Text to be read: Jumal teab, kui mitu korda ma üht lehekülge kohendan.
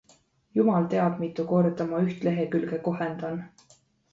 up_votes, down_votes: 0, 2